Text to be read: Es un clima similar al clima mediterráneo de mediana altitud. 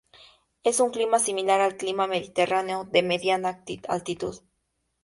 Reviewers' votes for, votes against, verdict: 0, 2, rejected